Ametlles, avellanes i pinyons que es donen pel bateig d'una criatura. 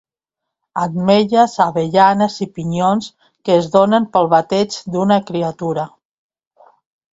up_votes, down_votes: 2, 0